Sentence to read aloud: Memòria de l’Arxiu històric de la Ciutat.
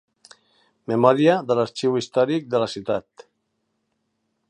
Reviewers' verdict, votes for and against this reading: accepted, 2, 0